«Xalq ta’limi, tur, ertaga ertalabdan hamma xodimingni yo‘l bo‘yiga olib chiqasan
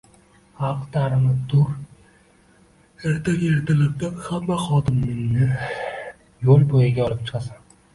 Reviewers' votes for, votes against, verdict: 1, 2, rejected